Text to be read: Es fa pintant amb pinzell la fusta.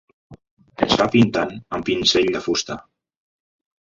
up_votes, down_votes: 0, 2